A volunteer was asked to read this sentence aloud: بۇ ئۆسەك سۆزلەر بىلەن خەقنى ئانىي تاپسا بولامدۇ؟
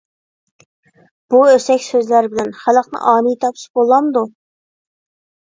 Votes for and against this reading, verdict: 0, 2, rejected